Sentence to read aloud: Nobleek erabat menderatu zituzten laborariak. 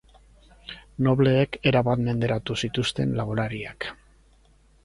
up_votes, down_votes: 6, 0